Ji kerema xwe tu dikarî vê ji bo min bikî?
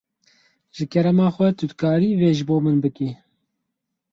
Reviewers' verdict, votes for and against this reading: accepted, 4, 0